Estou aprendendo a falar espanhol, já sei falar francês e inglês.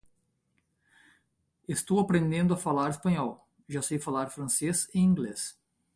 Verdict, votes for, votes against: rejected, 0, 2